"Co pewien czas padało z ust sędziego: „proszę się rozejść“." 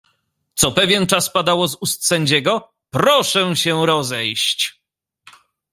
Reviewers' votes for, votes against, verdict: 2, 0, accepted